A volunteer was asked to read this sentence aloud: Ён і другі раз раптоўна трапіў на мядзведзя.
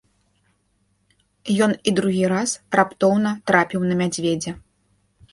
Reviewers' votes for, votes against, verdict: 2, 0, accepted